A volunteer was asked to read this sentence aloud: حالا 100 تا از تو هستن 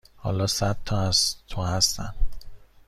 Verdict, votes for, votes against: rejected, 0, 2